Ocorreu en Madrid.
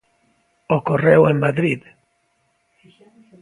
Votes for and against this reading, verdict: 2, 0, accepted